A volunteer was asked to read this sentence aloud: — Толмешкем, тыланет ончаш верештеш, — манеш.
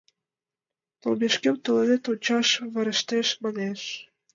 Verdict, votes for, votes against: rejected, 1, 2